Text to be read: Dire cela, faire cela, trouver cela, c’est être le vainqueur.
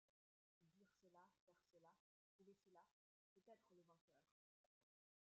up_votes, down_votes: 0, 2